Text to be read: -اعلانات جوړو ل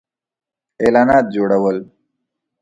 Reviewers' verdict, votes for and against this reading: rejected, 0, 2